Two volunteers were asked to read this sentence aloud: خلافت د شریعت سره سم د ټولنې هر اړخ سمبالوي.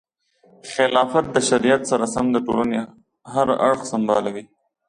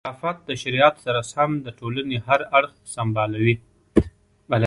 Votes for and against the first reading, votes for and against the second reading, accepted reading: 2, 0, 1, 2, first